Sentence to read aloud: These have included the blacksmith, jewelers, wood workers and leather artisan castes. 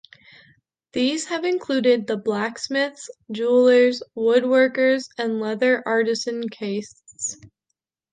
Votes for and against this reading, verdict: 1, 3, rejected